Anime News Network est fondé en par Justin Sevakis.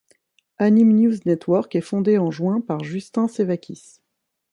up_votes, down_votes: 1, 2